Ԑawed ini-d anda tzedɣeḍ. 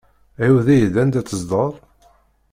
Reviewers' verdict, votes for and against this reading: rejected, 1, 2